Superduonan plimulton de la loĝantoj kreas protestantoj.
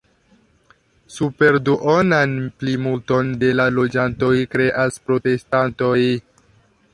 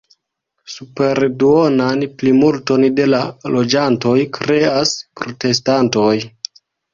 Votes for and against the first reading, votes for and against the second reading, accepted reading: 1, 2, 2, 0, second